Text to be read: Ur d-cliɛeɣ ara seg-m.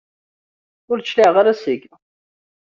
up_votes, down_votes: 1, 2